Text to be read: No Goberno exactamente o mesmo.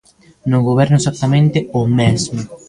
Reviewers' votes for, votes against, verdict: 1, 2, rejected